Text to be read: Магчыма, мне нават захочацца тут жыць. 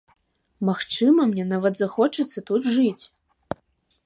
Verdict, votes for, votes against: accepted, 3, 0